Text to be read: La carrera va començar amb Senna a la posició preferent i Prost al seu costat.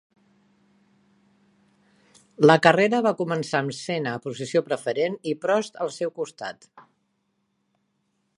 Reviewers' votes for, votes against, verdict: 2, 3, rejected